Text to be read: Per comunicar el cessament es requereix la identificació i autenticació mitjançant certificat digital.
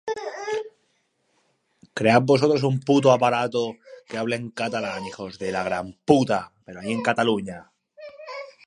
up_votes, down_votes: 0, 3